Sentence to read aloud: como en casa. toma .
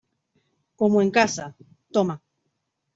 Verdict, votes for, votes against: accepted, 2, 0